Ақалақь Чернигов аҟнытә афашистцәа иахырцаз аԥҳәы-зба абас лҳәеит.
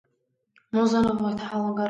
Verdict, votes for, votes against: rejected, 0, 2